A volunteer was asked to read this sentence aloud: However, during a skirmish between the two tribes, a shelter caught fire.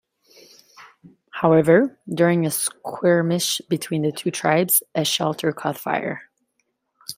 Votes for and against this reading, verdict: 2, 0, accepted